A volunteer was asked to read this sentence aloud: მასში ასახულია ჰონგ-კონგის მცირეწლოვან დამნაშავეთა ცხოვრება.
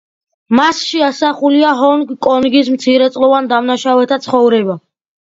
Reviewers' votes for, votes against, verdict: 2, 0, accepted